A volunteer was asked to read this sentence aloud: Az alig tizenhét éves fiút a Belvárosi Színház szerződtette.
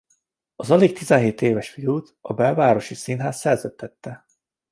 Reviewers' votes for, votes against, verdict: 2, 0, accepted